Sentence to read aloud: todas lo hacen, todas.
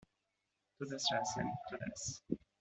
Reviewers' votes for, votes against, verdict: 1, 2, rejected